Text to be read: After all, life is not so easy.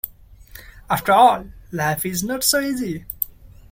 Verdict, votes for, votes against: accepted, 2, 0